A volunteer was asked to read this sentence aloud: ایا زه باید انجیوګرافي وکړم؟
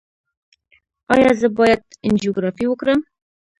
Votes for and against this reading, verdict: 1, 2, rejected